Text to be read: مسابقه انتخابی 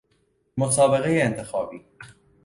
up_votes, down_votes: 2, 0